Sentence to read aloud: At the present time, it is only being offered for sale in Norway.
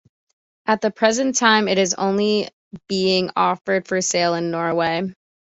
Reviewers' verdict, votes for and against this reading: accepted, 2, 0